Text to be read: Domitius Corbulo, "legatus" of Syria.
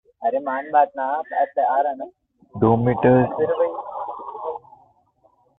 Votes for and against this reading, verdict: 1, 2, rejected